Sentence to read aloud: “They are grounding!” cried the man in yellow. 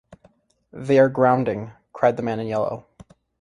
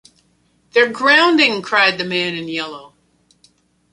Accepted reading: first